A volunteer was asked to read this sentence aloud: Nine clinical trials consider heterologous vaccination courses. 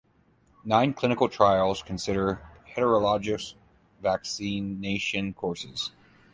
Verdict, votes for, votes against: accepted, 2, 0